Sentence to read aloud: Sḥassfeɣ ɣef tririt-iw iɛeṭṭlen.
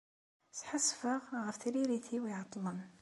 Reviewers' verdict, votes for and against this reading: accepted, 2, 0